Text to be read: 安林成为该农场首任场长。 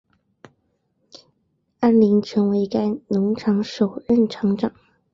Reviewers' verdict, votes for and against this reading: accepted, 5, 1